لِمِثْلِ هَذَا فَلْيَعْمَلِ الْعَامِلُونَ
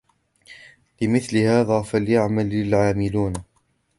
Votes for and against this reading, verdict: 2, 0, accepted